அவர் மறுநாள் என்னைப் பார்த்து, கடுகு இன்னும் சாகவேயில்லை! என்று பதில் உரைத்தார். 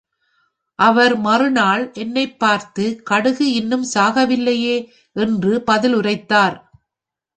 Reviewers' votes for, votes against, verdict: 1, 2, rejected